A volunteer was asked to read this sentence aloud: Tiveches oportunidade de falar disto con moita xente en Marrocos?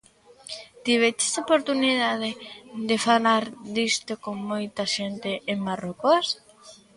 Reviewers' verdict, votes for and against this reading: accepted, 2, 0